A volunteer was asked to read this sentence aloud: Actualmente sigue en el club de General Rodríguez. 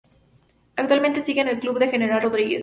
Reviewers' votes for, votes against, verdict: 2, 0, accepted